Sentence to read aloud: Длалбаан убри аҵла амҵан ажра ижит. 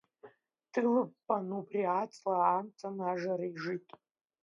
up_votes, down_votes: 0, 2